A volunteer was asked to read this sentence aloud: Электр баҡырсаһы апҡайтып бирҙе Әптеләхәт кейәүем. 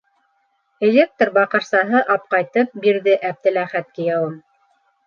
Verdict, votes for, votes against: accepted, 3, 0